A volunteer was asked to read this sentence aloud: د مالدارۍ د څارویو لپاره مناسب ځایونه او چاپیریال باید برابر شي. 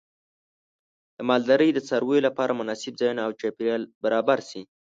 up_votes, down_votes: 0, 2